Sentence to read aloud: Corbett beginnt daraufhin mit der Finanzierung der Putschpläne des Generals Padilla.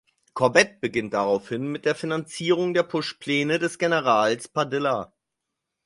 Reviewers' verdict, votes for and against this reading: rejected, 0, 4